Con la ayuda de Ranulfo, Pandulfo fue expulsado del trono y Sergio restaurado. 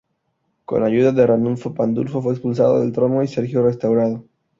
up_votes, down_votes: 0, 2